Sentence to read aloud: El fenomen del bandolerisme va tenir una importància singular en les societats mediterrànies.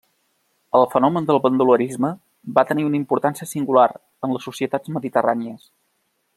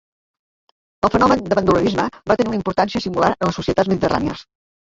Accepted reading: first